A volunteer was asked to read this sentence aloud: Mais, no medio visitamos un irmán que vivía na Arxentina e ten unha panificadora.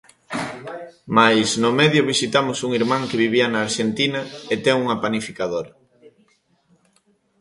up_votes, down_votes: 2, 0